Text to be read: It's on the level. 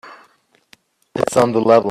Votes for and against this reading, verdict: 0, 2, rejected